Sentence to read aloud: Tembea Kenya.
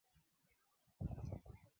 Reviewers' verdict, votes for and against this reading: rejected, 0, 2